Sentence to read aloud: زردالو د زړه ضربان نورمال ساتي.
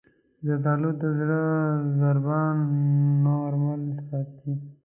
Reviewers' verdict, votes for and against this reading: rejected, 0, 2